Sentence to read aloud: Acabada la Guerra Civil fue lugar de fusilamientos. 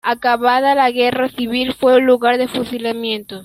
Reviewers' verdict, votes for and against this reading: accepted, 2, 1